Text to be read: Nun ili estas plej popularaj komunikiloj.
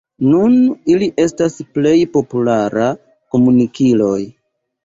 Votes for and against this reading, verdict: 0, 2, rejected